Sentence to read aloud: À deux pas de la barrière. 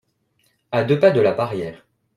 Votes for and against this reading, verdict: 2, 0, accepted